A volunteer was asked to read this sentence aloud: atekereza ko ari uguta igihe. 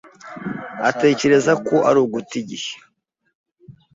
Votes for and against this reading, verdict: 2, 0, accepted